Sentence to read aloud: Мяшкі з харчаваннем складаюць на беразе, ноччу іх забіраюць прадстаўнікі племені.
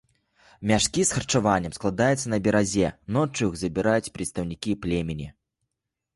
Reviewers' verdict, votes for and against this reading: rejected, 0, 2